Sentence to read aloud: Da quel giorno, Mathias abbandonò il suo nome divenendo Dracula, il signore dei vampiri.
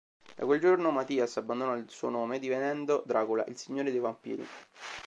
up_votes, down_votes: 2, 0